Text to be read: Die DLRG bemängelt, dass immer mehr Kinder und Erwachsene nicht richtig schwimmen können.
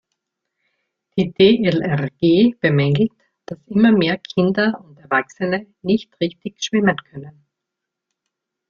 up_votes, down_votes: 1, 2